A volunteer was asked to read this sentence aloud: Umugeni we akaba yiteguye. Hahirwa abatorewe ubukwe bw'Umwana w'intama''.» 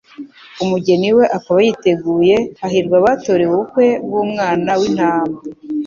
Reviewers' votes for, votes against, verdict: 2, 0, accepted